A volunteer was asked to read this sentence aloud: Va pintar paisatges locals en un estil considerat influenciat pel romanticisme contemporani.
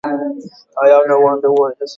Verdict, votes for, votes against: rejected, 0, 2